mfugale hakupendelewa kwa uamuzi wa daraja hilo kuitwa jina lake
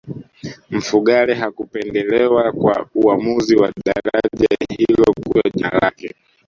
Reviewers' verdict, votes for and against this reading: rejected, 1, 2